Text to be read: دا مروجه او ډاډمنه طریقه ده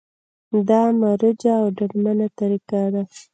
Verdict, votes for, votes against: rejected, 1, 2